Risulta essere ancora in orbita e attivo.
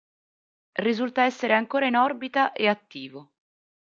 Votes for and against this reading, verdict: 2, 0, accepted